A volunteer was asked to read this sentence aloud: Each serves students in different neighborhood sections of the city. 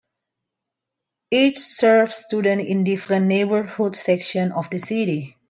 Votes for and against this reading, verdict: 2, 1, accepted